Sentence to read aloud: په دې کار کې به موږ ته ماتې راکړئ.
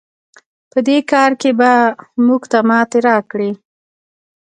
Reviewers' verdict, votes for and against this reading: accepted, 2, 0